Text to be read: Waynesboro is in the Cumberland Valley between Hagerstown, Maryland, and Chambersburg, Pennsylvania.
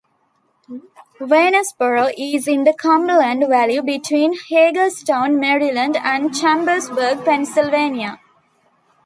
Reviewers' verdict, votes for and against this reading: accepted, 2, 0